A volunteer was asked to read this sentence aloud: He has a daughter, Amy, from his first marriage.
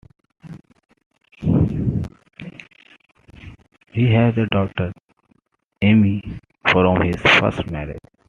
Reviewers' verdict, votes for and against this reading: accepted, 2, 0